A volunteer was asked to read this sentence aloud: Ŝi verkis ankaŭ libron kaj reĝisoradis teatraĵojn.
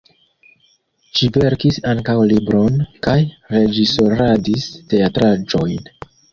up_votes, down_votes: 1, 2